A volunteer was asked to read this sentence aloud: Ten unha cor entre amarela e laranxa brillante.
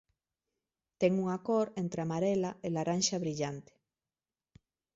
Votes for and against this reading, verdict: 2, 0, accepted